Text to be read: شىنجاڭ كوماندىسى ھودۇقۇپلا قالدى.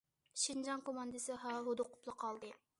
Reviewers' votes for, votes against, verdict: 0, 2, rejected